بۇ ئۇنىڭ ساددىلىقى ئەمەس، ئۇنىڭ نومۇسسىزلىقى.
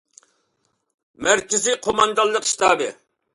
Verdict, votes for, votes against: rejected, 0, 2